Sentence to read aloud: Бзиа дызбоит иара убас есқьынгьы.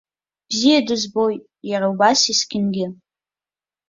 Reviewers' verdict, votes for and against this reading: accepted, 2, 0